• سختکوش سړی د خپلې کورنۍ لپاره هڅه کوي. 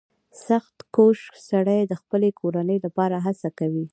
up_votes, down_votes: 1, 2